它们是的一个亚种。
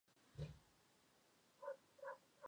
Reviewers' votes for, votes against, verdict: 1, 5, rejected